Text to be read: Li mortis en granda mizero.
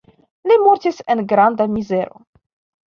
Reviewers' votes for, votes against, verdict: 2, 0, accepted